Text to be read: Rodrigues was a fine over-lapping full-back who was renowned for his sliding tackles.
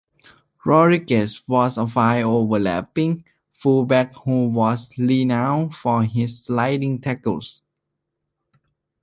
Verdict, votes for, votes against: accepted, 2, 1